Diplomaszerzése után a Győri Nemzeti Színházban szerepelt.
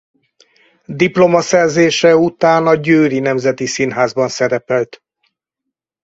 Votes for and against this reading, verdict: 4, 0, accepted